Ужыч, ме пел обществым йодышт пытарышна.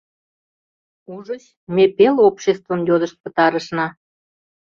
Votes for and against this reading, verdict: 2, 0, accepted